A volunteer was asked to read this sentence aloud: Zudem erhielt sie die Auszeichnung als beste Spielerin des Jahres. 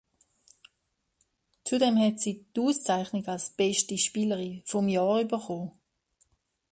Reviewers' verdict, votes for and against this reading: rejected, 0, 2